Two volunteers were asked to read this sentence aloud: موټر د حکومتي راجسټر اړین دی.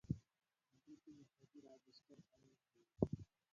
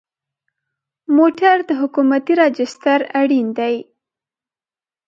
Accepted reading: second